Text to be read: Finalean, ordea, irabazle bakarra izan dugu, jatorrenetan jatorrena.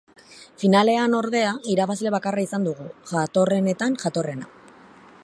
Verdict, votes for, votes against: accepted, 2, 0